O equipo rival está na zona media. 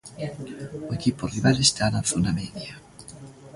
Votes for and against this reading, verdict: 2, 0, accepted